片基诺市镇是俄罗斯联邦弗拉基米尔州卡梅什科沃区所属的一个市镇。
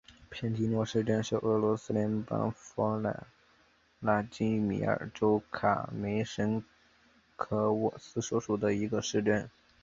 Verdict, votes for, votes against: rejected, 1, 2